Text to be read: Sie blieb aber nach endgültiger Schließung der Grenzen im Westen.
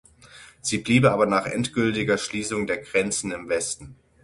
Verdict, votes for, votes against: rejected, 0, 6